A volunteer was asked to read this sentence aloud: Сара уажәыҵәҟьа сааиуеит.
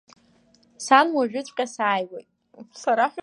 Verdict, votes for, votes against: accepted, 2, 1